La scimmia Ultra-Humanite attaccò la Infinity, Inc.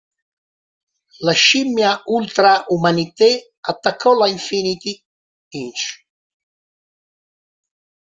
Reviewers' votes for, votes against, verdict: 1, 2, rejected